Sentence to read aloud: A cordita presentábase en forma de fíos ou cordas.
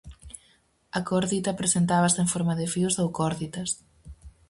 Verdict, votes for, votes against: rejected, 0, 4